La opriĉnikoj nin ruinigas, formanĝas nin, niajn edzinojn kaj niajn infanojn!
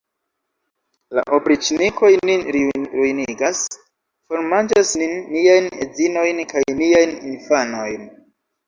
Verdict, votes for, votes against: rejected, 1, 2